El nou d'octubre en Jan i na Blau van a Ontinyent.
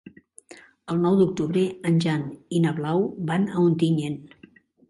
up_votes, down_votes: 3, 0